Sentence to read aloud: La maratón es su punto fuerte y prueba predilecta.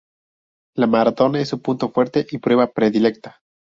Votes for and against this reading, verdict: 0, 2, rejected